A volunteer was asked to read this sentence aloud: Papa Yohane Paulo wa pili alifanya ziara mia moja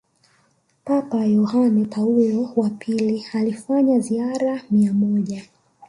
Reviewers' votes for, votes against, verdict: 3, 0, accepted